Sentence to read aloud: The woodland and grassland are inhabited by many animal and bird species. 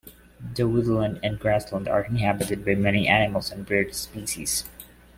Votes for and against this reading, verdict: 2, 0, accepted